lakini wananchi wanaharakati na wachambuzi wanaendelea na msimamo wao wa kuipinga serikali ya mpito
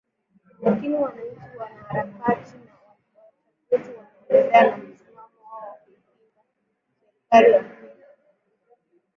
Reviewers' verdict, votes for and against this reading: rejected, 1, 6